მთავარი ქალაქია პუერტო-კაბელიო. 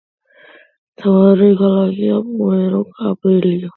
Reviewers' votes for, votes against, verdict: 2, 1, accepted